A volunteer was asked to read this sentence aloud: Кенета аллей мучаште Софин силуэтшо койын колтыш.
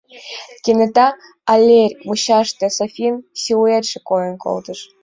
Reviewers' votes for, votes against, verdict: 1, 3, rejected